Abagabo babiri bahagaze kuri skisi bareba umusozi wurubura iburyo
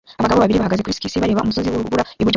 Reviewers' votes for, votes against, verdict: 0, 2, rejected